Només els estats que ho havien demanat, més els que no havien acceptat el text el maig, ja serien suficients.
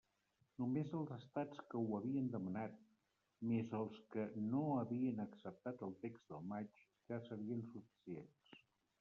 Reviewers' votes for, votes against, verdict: 1, 2, rejected